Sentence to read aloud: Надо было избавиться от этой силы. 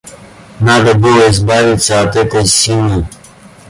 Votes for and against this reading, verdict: 2, 0, accepted